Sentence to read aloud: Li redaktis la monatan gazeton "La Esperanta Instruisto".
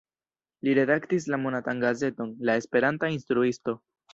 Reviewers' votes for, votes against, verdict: 1, 2, rejected